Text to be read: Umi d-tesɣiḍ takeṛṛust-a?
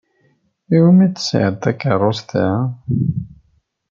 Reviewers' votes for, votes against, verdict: 2, 0, accepted